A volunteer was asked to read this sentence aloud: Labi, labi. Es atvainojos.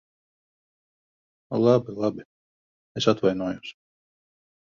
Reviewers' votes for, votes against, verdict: 1, 2, rejected